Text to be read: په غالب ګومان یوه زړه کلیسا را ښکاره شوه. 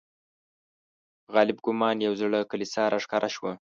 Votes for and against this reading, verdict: 1, 2, rejected